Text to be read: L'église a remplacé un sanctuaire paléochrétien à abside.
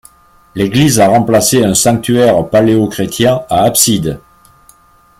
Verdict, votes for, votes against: accepted, 2, 1